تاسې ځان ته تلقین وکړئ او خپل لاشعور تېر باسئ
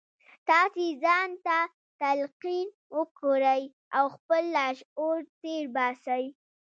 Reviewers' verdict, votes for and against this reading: accepted, 2, 0